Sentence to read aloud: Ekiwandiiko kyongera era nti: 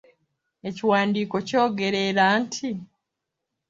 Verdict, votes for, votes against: rejected, 1, 2